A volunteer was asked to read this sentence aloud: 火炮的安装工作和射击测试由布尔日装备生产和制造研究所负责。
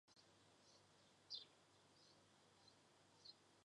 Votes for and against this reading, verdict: 4, 3, accepted